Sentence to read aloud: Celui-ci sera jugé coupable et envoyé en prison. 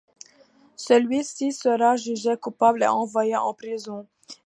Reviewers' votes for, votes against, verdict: 2, 0, accepted